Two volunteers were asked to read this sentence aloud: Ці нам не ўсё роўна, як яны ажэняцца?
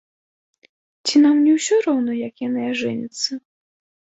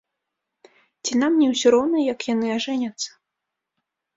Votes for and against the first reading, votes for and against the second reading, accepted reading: 2, 0, 1, 2, first